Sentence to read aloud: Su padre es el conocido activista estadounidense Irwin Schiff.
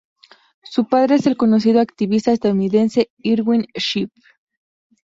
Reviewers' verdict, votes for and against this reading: accepted, 2, 0